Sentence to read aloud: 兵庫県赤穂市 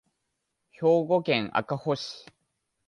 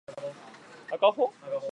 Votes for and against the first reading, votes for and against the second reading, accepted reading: 2, 0, 0, 2, first